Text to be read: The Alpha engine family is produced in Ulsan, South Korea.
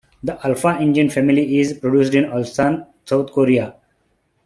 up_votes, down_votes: 2, 0